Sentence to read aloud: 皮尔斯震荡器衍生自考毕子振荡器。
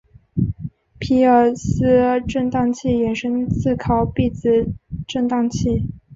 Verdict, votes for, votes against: accepted, 3, 1